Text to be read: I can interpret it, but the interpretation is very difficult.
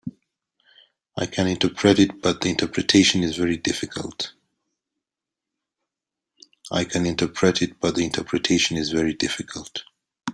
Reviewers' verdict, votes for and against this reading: rejected, 0, 2